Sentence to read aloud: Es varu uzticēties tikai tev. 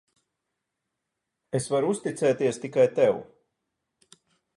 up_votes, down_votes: 4, 0